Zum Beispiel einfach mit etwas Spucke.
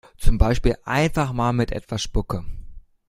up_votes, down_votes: 0, 2